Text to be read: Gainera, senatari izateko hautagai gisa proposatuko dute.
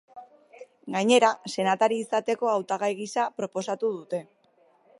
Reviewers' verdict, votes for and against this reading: rejected, 1, 2